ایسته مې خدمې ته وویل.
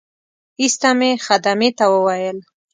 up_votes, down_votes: 2, 0